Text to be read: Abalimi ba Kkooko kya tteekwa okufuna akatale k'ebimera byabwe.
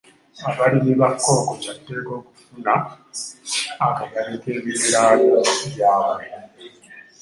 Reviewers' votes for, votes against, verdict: 1, 2, rejected